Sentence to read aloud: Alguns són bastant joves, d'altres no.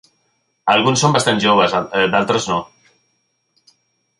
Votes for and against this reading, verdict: 0, 2, rejected